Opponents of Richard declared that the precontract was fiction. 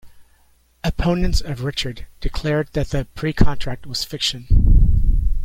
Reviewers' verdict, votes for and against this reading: accepted, 2, 1